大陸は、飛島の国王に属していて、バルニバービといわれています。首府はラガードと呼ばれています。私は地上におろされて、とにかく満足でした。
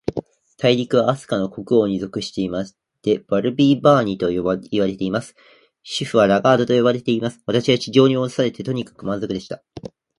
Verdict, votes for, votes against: rejected, 0, 2